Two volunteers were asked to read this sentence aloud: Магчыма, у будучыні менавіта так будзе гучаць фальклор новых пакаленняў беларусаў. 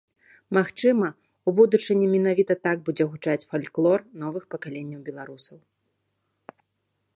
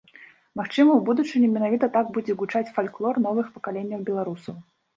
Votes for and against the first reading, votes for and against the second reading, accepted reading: 3, 0, 1, 2, first